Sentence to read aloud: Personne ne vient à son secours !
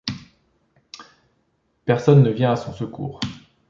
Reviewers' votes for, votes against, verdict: 2, 0, accepted